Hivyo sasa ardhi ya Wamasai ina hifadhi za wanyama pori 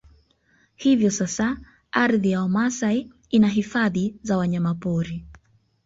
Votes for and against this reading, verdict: 2, 0, accepted